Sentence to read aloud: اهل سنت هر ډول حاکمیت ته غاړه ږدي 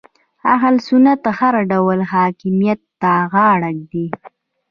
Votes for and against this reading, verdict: 0, 2, rejected